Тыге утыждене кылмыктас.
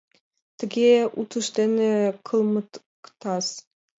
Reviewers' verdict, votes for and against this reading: rejected, 0, 2